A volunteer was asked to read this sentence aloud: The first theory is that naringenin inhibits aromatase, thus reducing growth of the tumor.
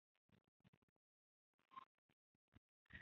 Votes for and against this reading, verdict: 0, 3, rejected